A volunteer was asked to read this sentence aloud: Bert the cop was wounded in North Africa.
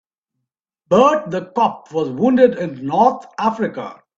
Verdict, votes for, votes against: accepted, 2, 0